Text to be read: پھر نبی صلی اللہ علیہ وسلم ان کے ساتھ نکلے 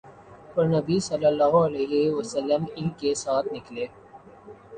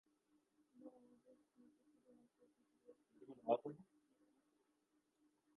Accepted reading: first